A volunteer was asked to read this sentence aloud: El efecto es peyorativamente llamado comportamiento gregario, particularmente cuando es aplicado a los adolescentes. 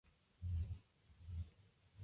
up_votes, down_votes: 0, 2